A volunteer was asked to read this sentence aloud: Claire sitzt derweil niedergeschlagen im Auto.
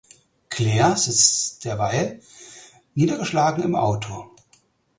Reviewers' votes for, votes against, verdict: 4, 0, accepted